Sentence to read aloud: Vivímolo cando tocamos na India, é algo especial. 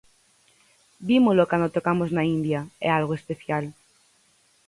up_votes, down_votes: 2, 4